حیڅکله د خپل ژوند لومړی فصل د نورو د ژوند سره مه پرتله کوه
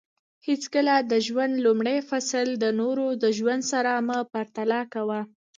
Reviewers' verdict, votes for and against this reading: rejected, 1, 2